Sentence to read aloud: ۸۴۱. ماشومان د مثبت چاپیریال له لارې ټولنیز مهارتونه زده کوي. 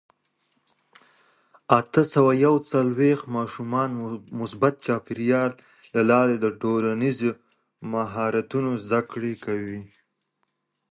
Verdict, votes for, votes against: rejected, 0, 2